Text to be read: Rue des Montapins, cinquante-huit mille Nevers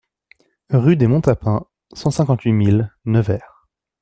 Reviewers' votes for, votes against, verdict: 2, 1, accepted